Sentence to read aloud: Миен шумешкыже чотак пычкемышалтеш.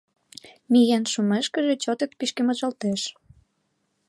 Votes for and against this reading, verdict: 1, 4, rejected